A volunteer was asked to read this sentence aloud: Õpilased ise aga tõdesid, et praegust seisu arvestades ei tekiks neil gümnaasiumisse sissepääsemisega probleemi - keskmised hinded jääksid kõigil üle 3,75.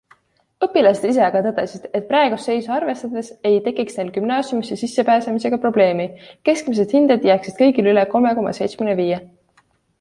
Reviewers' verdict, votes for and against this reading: rejected, 0, 2